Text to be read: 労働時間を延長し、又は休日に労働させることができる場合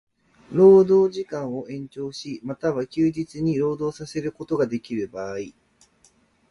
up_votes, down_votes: 2, 0